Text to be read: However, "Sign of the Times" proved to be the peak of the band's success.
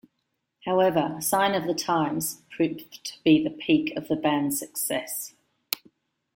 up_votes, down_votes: 1, 2